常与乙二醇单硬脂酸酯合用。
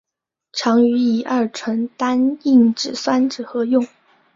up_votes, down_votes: 2, 0